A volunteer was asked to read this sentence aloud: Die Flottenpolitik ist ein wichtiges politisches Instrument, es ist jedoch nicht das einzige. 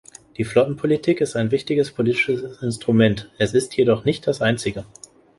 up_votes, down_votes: 1, 2